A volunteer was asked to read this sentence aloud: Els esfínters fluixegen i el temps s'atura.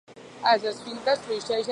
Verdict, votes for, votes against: rejected, 0, 2